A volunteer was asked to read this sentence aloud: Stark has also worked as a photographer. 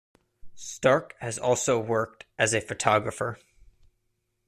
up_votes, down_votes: 2, 0